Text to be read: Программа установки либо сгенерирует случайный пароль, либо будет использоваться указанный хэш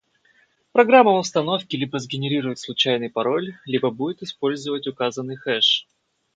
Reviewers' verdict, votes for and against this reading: rejected, 0, 4